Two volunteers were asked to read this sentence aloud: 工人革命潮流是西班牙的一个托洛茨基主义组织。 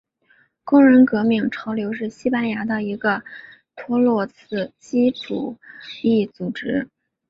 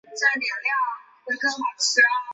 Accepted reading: first